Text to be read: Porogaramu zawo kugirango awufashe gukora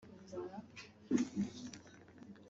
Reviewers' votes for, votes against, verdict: 1, 3, rejected